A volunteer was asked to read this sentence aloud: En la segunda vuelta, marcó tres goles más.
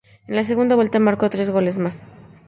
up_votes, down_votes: 2, 0